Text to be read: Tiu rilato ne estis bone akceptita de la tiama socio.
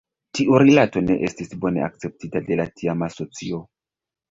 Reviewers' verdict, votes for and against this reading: rejected, 0, 2